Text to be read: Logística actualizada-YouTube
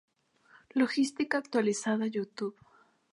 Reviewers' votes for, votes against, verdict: 4, 0, accepted